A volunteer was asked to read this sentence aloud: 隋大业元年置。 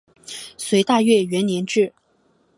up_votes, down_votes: 2, 0